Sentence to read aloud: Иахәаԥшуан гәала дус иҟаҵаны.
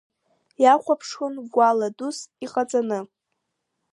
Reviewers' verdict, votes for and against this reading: accepted, 2, 0